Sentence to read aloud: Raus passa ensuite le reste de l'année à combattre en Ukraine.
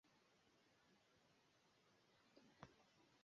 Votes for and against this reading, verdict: 0, 2, rejected